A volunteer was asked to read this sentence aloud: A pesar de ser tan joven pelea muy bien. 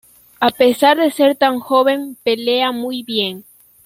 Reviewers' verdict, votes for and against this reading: accepted, 2, 0